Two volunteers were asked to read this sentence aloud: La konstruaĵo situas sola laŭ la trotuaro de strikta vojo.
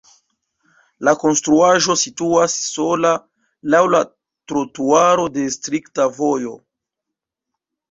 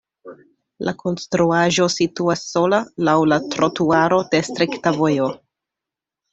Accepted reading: second